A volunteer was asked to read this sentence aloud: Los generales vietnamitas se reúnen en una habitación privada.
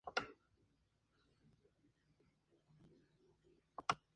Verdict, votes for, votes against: rejected, 0, 4